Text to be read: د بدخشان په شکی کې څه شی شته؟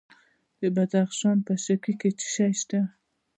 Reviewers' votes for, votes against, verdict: 2, 0, accepted